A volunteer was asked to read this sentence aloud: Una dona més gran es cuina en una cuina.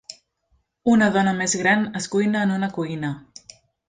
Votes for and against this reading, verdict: 3, 0, accepted